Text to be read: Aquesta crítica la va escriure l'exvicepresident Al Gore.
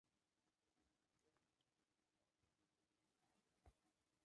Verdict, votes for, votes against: rejected, 0, 3